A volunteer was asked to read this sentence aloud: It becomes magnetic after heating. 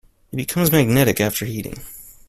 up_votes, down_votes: 2, 0